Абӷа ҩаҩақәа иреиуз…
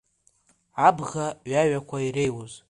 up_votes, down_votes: 2, 1